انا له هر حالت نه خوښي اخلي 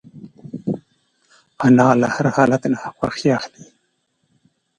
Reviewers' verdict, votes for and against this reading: accepted, 2, 0